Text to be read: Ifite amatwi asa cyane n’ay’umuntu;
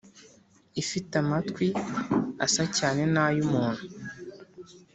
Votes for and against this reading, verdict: 4, 0, accepted